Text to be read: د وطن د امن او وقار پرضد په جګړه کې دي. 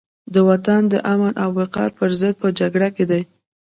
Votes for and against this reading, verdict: 2, 0, accepted